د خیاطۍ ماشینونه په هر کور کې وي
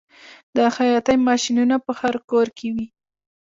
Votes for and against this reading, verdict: 2, 0, accepted